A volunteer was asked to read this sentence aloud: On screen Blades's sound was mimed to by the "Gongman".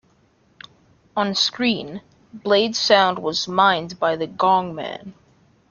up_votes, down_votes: 0, 2